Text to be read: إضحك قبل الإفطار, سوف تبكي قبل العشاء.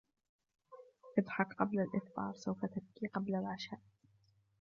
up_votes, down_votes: 0, 2